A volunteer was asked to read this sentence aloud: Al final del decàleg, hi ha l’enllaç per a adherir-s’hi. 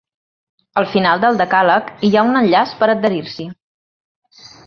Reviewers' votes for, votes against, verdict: 1, 2, rejected